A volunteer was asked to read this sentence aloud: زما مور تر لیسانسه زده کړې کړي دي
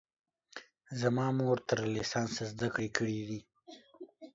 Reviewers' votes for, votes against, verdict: 2, 0, accepted